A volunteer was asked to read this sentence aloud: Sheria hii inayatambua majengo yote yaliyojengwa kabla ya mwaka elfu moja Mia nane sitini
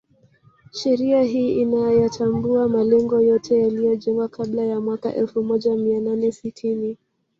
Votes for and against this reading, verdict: 1, 3, rejected